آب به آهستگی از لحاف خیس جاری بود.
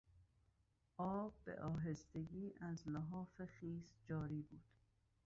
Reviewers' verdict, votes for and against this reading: rejected, 1, 2